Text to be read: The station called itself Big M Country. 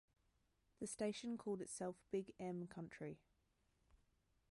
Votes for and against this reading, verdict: 1, 2, rejected